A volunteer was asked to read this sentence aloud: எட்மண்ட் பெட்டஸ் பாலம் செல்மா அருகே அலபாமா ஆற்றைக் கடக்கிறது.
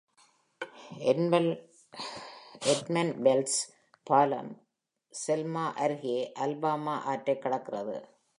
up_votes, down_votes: 0, 2